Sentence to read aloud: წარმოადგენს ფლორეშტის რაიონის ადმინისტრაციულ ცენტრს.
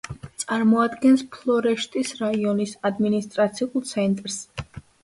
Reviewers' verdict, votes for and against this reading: accepted, 2, 0